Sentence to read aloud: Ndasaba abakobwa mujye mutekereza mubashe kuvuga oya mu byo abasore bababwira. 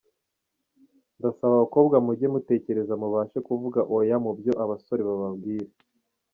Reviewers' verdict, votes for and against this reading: rejected, 0, 2